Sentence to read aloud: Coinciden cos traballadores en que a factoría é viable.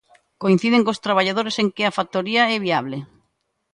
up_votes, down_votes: 2, 0